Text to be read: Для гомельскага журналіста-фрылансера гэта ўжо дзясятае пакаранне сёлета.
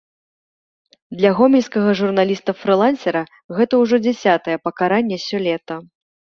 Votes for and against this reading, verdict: 1, 2, rejected